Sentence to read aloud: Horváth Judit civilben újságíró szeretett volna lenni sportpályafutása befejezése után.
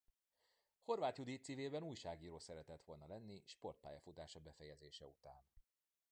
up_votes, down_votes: 2, 3